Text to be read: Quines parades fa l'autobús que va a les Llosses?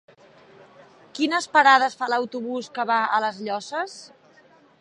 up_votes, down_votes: 3, 0